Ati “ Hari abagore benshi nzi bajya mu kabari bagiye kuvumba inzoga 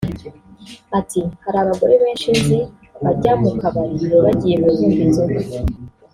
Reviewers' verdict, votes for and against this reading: rejected, 1, 2